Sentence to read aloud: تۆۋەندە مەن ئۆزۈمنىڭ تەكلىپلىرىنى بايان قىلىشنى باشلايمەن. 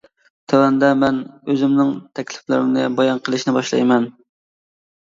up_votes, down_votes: 2, 0